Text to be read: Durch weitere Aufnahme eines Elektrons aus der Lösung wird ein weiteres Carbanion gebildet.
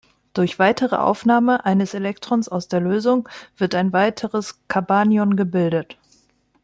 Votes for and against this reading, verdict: 0, 2, rejected